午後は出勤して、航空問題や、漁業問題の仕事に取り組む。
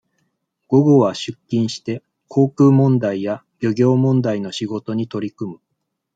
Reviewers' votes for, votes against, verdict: 2, 0, accepted